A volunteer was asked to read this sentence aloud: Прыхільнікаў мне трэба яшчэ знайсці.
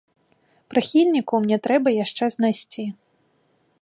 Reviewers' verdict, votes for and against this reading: accepted, 2, 0